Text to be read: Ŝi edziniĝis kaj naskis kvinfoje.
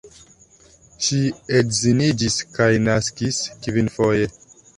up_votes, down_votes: 2, 1